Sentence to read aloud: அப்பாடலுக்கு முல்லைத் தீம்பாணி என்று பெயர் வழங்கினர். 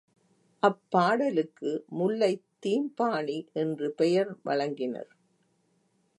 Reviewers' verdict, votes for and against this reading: accepted, 2, 0